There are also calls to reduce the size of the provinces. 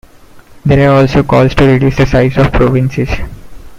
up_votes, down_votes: 0, 2